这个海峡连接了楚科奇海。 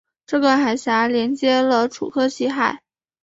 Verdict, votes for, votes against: accepted, 3, 0